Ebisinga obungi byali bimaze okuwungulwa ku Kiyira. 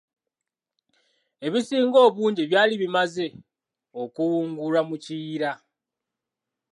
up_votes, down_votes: 2, 0